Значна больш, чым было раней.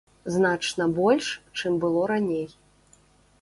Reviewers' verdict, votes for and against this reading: accepted, 2, 0